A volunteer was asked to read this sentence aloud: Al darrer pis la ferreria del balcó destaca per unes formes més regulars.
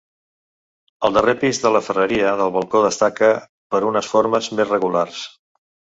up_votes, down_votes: 0, 2